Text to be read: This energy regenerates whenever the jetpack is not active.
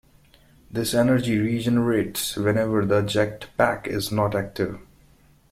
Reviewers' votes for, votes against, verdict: 2, 1, accepted